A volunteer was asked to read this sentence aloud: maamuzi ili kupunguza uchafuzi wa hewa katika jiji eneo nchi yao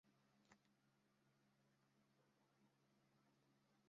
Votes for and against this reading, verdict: 0, 2, rejected